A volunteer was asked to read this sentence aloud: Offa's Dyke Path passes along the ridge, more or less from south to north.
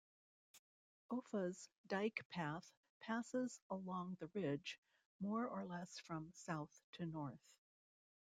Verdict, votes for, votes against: rejected, 0, 2